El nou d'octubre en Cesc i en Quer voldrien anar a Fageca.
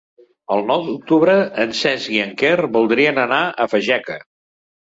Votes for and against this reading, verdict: 3, 0, accepted